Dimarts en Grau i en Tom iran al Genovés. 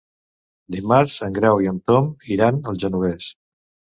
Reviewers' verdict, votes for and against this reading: accepted, 2, 0